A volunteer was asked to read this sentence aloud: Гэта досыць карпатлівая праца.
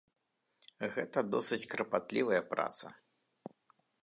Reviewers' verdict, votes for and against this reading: rejected, 0, 2